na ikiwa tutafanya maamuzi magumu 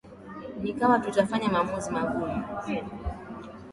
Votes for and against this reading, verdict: 13, 4, accepted